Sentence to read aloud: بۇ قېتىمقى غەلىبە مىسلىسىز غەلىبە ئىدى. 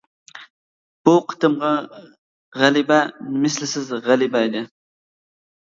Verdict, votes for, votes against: rejected, 0, 2